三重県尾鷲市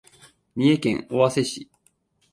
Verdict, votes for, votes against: accepted, 2, 0